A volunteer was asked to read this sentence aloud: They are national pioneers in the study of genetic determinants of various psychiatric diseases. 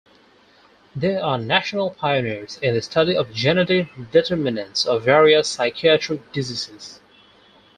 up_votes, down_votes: 2, 4